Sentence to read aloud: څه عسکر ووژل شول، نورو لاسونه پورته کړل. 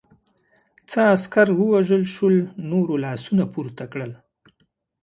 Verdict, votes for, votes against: accepted, 2, 0